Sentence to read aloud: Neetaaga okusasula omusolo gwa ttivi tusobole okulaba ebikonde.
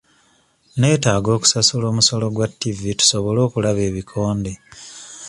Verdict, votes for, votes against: accepted, 2, 0